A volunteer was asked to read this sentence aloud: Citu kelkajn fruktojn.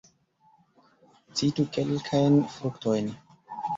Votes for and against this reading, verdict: 1, 2, rejected